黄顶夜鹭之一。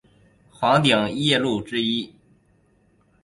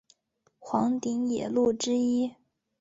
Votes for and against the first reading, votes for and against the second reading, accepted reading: 2, 0, 1, 2, first